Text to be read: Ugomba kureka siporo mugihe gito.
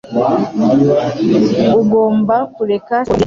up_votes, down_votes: 0, 2